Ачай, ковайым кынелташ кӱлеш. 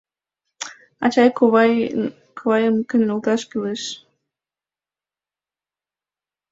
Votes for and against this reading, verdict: 1, 2, rejected